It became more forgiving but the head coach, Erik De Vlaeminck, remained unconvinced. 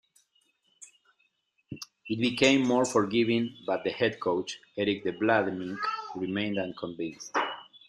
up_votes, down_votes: 2, 1